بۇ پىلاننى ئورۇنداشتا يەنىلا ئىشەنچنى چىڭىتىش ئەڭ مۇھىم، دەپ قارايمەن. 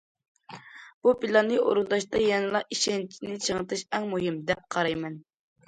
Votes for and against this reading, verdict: 2, 0, accepted